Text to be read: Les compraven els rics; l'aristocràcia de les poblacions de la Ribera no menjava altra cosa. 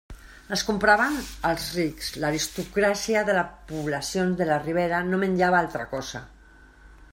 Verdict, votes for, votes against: rejected, 0, 2